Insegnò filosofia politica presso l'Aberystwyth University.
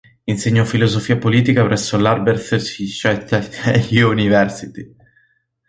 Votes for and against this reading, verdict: 0, 2, rejected